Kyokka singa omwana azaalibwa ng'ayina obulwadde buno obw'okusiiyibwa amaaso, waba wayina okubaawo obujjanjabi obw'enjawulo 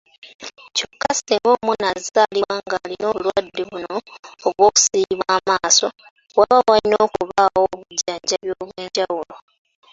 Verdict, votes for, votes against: accepted, 2, 0